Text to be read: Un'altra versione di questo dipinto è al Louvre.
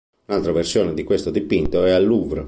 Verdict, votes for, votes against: accepted, 3, 0